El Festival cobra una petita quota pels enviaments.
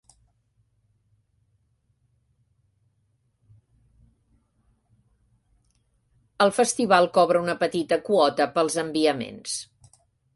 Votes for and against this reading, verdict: 0, 2, rejected